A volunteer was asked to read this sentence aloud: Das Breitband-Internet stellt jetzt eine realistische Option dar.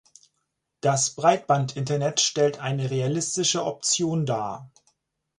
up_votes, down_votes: 0, 4